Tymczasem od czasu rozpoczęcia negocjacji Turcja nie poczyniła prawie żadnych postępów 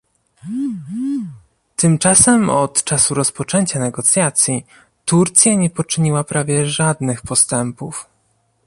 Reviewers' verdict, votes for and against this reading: rejected, 1, 2